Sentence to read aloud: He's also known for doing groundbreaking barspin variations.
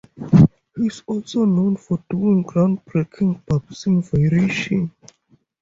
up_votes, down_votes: 6, 4